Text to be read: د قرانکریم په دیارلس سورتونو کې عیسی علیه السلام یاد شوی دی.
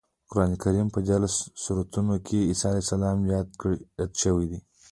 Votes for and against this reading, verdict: 3, 0, accepted